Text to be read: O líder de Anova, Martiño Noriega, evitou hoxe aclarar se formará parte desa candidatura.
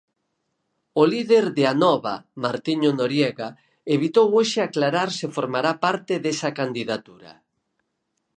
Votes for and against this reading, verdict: 2, 4, rejected